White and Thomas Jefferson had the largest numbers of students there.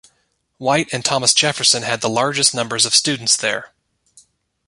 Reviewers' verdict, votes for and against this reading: accepted, 2, 0